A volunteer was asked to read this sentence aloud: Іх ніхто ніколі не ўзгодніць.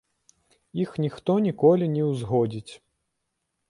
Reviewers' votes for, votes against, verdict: 1, 2, rejected